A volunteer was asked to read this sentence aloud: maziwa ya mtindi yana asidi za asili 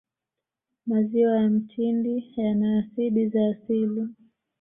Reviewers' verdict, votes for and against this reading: accepted, 2, 0